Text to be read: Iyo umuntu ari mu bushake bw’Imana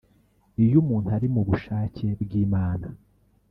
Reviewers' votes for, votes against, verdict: 0, 2, rejected